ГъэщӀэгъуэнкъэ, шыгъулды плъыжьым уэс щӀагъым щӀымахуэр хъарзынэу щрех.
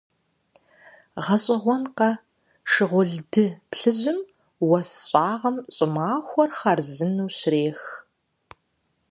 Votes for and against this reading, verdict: 4, 0, accepted